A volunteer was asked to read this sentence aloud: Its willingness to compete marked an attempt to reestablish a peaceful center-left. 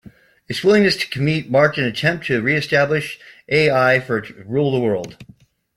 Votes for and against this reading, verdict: 1, 2, rejected